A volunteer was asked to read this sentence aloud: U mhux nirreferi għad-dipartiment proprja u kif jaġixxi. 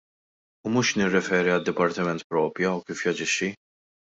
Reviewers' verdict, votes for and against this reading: accepted, 2, 0